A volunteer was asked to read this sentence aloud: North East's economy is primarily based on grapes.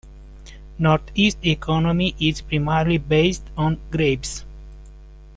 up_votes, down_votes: 2, 1